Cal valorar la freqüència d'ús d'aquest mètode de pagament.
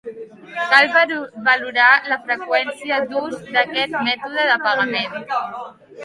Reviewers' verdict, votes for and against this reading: rejected, 0, 2